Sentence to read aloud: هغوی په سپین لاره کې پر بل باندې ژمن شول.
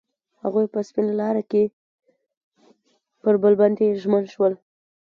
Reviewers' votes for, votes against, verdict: 2, 0, accepted